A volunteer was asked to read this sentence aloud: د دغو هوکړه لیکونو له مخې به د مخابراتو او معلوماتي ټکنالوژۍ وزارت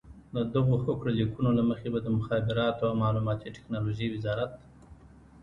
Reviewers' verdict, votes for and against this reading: rejected, 1, 2